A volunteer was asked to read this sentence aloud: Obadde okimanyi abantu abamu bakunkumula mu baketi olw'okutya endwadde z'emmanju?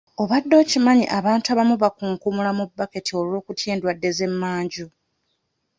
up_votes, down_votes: 2, 1